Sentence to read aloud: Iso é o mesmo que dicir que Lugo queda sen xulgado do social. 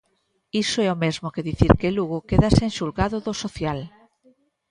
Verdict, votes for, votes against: accepted, 2, 0